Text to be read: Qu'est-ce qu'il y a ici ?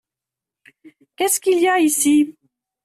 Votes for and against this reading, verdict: 2, 0, accepted